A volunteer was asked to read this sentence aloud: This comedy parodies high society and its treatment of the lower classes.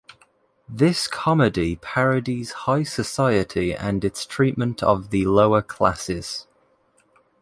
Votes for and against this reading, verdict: 2, 0, accepted